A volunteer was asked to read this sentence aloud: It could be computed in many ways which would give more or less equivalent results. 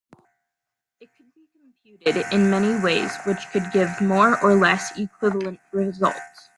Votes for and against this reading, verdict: 1, 2, rejected